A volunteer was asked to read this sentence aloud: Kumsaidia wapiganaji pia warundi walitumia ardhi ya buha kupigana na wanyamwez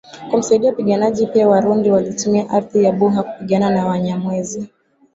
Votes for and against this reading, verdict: 2, 0, accepted